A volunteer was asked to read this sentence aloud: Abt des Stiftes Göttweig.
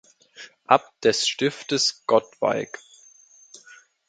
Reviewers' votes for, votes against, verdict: 2, 1, accepted